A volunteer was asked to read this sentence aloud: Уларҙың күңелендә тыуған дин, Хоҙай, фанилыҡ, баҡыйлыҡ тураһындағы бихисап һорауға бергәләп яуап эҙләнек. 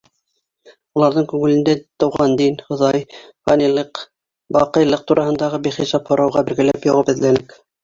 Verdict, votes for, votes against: accepted, 2, 1